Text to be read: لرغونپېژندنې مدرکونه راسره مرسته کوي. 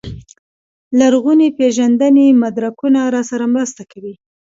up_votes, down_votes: 1, 2